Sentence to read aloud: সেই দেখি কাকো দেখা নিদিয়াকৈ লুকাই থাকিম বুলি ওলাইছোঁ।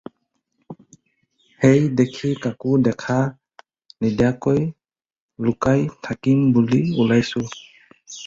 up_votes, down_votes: 2, 0